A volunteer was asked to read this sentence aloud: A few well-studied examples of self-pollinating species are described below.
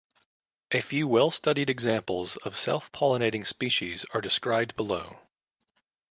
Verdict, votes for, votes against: accepted, 2, 0